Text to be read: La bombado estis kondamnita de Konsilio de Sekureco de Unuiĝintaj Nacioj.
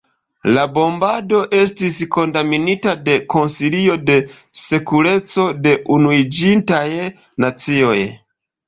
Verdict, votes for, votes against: accepted, 2, 1